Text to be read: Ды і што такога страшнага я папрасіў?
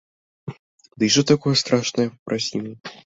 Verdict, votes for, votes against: rejected, 0, 2